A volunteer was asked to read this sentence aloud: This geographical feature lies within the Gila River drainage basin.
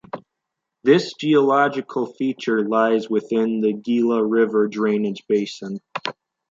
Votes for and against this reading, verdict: 0, 2, rejected